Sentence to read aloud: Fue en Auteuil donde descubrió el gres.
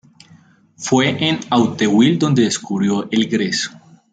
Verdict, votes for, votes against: accepted, 3, 2